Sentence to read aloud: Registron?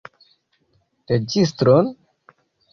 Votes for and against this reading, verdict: 1, 2, rejected